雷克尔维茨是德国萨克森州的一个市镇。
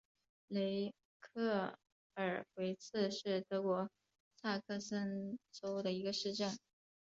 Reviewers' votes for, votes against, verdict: 2, 0, accepted